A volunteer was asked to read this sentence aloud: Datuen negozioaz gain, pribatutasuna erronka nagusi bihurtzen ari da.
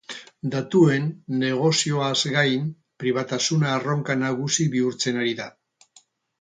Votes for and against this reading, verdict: 2, 4, rejected